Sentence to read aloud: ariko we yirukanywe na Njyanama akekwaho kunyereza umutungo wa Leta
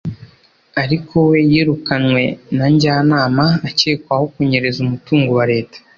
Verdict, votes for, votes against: accepted, 2, 0